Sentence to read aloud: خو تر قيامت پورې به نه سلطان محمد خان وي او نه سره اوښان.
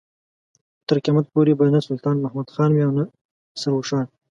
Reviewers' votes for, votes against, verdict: 0, 2, rejected